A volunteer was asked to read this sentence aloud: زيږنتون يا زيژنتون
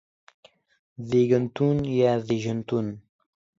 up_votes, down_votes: 2, 0